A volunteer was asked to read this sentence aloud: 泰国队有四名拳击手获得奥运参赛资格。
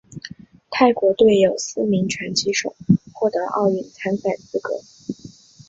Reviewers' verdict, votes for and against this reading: accepted, 4, 0